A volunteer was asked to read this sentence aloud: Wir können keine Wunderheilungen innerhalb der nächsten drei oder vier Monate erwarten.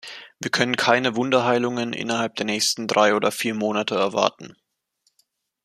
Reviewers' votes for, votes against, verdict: 2, 0, accepted